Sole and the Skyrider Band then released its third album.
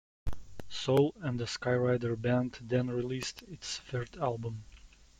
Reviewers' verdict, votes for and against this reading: accepted, 2, 1